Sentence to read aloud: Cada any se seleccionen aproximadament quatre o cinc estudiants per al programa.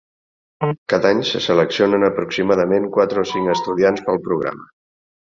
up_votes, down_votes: 0, 2